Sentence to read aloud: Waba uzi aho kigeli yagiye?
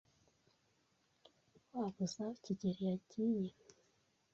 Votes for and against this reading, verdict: 2, 1, accepted